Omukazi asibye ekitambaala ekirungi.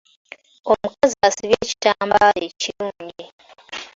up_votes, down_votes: 3, 2